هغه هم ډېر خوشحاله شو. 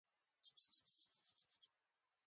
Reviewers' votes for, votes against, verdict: 0, 2, rejected